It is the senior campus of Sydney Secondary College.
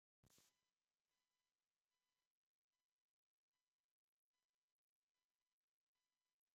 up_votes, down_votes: 0, 2